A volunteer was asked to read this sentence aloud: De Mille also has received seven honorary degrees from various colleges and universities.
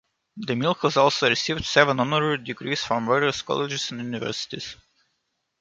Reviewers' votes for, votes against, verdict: 2, 3, rejected